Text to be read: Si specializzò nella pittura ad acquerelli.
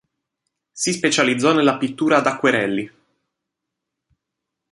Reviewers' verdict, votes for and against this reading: accepted, 2, 0